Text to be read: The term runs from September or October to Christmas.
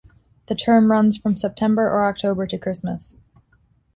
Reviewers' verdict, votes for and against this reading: accepted, 2, 0